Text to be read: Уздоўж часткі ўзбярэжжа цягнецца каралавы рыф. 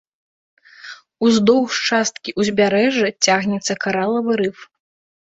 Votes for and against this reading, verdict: 2, 0, accepted